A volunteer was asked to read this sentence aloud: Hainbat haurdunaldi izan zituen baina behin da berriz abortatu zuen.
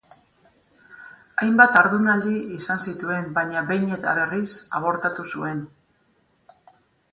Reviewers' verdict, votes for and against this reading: rejected, 2, 2